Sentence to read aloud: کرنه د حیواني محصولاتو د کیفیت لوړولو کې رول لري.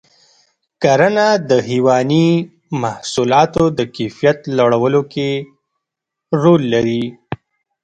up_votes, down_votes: 0, 2